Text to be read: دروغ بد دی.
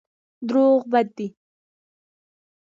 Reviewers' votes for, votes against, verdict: 2, 0, accepted